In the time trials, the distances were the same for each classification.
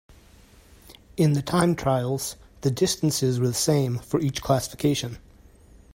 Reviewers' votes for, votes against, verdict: 2, 0, accepted